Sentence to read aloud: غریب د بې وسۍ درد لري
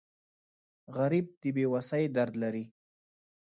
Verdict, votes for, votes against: accepted, 2, 0